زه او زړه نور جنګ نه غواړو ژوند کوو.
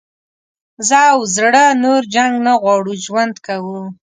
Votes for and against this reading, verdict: 2, 0, accepted